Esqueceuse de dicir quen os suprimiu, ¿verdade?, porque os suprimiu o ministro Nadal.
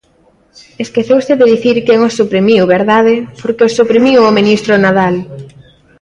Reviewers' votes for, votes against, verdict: 2, 0, accepted